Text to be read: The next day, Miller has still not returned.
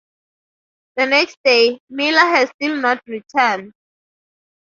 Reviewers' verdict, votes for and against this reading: accepted, 2, 0